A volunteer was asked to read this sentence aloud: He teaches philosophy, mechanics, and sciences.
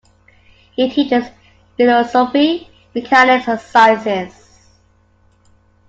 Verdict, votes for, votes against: rejected, 1, 2